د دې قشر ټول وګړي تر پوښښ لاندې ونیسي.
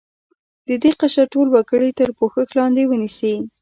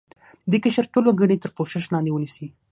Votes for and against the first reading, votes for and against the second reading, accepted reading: 1, 2, 6, 3, second